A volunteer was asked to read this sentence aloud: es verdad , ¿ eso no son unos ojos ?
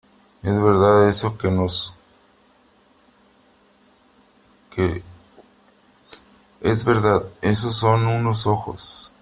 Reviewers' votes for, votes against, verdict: 0, 3, rejected